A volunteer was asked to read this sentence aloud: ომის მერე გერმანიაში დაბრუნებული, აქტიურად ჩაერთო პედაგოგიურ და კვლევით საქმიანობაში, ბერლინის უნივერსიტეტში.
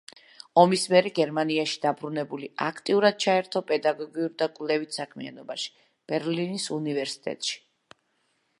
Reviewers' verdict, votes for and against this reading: accepted, 2, 0